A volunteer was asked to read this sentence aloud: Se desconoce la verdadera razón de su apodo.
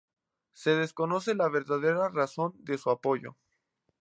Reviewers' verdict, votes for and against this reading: rejected, 2, 2